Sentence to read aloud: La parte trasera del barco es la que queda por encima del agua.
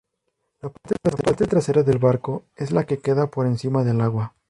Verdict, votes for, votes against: rejected, 0, 2